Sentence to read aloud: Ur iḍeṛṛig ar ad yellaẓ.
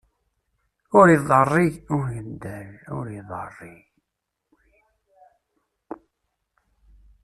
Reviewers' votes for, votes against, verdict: 0, 2, rejected